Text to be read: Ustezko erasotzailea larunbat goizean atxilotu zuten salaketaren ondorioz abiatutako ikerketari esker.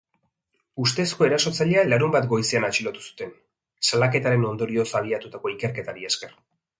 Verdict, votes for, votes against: accepted, 2, 0